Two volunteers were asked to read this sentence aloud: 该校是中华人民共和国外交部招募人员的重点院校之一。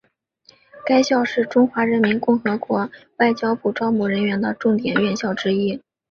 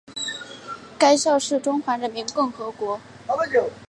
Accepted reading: first